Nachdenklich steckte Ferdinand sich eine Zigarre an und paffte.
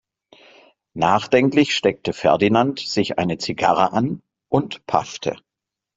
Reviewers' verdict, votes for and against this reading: accepted, 2, 0